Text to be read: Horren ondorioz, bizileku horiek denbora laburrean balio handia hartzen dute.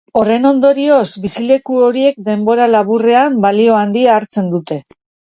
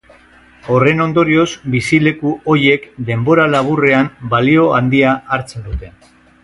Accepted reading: first